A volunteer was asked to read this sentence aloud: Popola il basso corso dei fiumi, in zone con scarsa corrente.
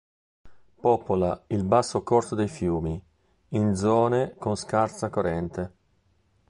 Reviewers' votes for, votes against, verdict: 2, 0, accepted